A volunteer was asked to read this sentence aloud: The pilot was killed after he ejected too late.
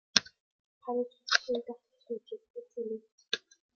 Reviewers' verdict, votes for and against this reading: rejected, 0, 2